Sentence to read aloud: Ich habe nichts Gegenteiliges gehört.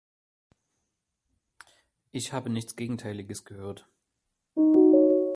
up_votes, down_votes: 1, 2